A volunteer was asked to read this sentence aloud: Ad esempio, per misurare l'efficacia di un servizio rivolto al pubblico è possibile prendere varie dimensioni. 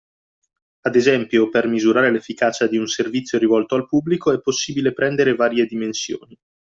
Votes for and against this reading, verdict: 2, 0, accepted